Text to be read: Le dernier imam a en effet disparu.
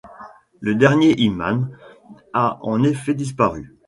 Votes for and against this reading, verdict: 2, 1, accepted